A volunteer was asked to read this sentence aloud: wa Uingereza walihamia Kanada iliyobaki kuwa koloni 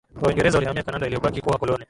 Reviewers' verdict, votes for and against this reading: rejected, 1, 2